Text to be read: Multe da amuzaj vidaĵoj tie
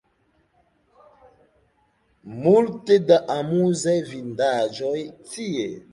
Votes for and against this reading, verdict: 1, 2, rejected